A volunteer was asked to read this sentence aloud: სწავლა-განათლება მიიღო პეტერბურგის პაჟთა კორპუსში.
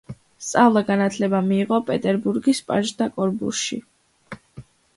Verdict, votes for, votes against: accepted, 2, 0